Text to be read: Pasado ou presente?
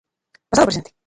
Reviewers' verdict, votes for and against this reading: rejected, 0, 2